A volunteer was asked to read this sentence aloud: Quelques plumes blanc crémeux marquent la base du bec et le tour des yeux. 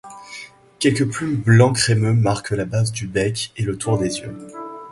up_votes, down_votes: 2, 0